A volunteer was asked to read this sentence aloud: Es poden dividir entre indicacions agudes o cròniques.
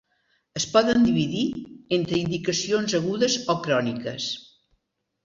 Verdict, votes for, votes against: accepted, 2, 0